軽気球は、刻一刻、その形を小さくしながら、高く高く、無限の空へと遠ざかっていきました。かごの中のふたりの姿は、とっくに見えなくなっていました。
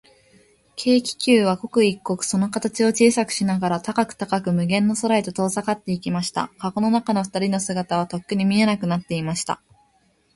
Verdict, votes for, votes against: accepted, 2, 0